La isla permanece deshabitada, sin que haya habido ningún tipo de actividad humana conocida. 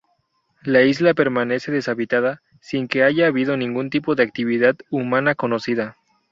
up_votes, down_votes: 0, 2